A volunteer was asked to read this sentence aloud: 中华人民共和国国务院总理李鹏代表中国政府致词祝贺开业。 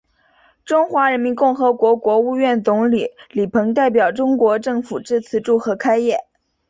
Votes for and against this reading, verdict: 2, 0, accepted